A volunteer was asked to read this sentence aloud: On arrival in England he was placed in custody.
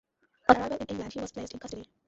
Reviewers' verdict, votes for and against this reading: rejected, 0, 2